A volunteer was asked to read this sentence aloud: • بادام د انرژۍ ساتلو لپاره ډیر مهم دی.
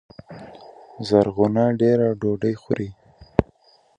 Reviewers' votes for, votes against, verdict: 0, 2, rejected